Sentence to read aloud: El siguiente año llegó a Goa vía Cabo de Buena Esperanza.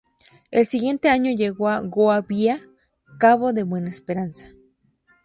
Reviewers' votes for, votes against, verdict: 2, 0, accepted